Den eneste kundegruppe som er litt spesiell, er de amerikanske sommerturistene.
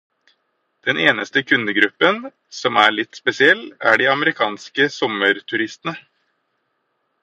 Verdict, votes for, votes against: rejected, 2, 4